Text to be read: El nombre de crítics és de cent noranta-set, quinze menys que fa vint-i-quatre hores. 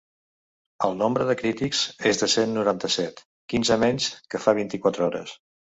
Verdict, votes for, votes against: accepted, 3, 0